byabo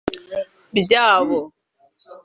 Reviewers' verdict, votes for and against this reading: accepted, 2, 0